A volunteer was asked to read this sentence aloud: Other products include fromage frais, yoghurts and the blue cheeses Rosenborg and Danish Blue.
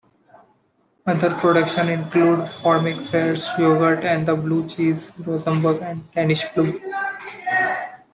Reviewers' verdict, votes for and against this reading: accepted, 2, 0